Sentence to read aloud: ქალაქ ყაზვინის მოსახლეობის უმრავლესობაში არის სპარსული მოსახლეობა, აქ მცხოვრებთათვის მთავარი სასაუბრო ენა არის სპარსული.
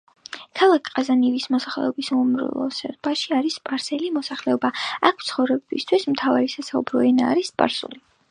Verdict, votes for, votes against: accepted, 2, 0